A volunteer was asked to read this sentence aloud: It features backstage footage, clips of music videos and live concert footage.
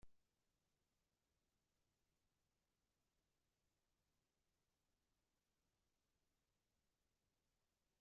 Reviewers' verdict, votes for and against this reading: rejected, 0, 2